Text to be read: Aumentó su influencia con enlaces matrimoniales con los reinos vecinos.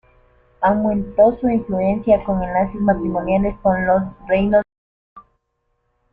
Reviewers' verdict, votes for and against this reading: rejected, 0, 2